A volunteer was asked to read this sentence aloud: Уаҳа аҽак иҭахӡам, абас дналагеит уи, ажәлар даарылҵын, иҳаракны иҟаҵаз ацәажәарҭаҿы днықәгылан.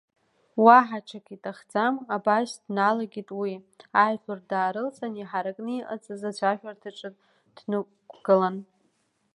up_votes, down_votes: 2, 1